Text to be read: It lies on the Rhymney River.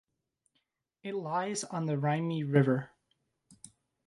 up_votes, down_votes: 1, 2